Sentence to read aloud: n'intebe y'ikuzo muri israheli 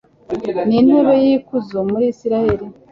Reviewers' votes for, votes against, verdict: 3, 0, accepted